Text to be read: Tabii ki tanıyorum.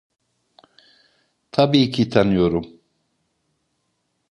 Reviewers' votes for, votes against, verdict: 2, 0, accepted